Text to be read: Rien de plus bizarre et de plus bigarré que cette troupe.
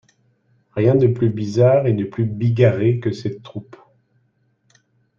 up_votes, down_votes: 2, 0